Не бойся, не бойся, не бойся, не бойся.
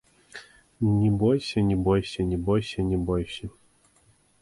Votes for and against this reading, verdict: 1, 2, rejected